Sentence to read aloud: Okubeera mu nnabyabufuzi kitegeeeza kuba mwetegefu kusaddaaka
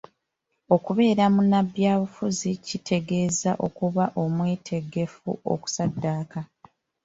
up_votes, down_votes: 1, 2